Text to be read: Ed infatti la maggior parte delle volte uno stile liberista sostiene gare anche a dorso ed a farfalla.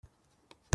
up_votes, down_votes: 0, 2